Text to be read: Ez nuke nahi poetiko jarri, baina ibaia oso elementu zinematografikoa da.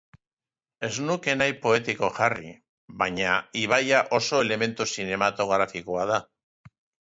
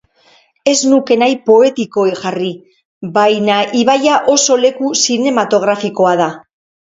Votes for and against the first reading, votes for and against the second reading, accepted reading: 2, 1, 0, 2, first